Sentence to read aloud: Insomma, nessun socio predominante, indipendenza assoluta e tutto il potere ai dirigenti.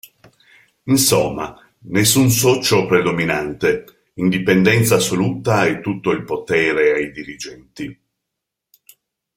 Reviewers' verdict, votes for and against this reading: accepted, 2, 0